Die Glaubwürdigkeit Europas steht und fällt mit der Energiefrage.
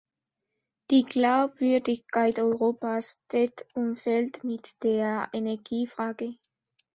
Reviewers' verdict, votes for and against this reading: accepted, 2, 0